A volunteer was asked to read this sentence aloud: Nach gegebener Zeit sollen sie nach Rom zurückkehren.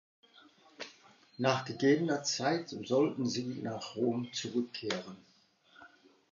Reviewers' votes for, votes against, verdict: 0, 2, rejected